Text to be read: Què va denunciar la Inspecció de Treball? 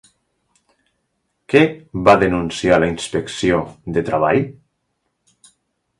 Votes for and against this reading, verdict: 1, 2, rejected